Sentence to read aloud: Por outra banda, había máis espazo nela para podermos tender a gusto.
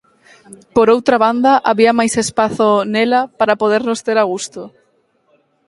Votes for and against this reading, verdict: 2, 4, rejected